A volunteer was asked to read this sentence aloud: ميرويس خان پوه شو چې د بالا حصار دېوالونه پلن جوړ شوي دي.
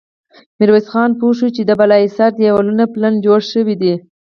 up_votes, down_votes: 0, 2